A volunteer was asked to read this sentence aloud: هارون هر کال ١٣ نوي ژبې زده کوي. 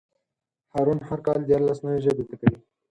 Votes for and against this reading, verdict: 0, 2, rejected